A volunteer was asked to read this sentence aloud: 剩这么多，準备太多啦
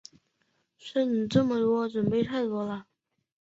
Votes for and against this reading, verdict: 2, 3, rejected